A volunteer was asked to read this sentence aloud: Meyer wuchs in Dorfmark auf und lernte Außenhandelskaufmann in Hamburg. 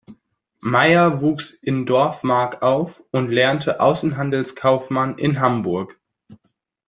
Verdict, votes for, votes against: accepted, 2, 0